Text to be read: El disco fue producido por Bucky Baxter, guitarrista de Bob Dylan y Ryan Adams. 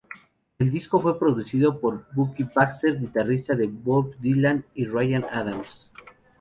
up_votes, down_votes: 2, 0